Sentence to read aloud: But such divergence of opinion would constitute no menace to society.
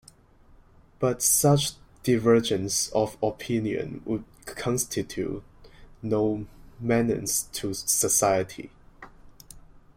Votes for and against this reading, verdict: 0, 2, rejected